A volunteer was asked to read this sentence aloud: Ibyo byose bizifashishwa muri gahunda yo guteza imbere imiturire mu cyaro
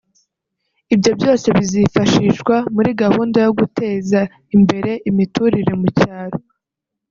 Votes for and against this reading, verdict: 0, 2, rejected